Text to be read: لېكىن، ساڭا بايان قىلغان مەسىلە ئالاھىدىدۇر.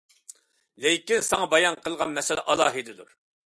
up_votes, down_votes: 2, 0